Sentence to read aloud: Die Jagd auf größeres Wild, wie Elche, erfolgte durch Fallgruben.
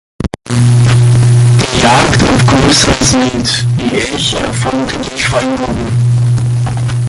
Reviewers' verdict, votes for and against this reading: rejected, 1, 2